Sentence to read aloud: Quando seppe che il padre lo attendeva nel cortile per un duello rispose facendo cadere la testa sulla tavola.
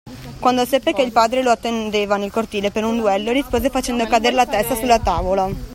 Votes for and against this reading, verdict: 2, 0, accepted